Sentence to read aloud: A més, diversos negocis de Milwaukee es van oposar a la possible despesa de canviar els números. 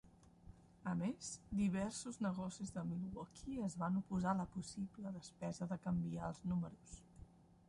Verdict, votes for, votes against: rejected, 1, 2